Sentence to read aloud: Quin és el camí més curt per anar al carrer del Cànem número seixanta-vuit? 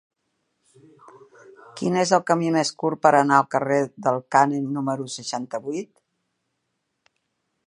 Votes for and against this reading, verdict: 2, 0, accepted